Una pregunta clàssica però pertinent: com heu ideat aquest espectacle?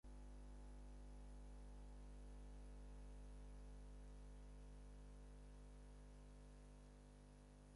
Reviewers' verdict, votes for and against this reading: rejected, 0, 6